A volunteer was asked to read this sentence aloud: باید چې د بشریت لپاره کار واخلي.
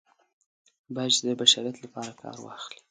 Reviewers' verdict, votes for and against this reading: accepted, 2, 0